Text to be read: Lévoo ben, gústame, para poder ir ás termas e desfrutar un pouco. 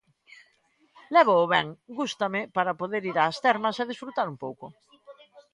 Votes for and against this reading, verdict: 2, 0, accepted